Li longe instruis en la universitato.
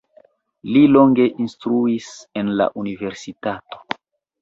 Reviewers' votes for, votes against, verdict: 1, 2, rejected